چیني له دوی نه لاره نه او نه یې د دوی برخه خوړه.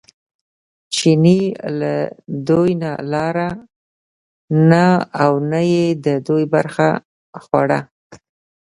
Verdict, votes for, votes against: accepted, 2, 1